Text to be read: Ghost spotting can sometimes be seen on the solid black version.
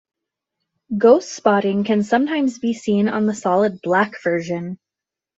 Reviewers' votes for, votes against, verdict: 2, 0, accepted